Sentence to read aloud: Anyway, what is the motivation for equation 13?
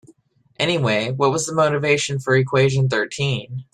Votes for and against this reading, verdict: 0, 2, rejected